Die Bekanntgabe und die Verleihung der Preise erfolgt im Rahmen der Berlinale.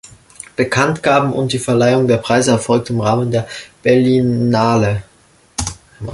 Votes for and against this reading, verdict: 1, 2, rejected